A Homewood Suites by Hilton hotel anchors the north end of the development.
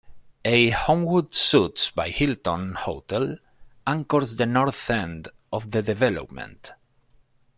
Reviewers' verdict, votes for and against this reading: rejected, 1, 2